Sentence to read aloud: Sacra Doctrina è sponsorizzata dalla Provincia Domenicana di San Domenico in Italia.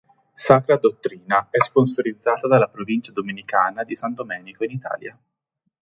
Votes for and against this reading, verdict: 1, 2, rejected